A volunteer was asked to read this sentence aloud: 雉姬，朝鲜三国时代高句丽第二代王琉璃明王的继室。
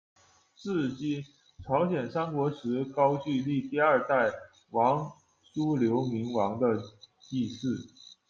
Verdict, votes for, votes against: rejected, 0, 2